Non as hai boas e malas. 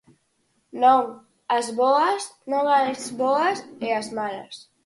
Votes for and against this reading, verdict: 0, 4, rejected